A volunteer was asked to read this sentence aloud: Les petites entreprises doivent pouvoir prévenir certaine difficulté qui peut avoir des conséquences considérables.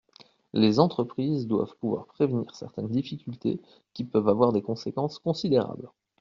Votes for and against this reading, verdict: 0, 2, rejected